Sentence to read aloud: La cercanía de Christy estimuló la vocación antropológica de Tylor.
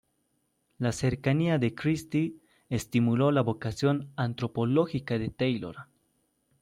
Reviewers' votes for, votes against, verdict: 1, 2, rejected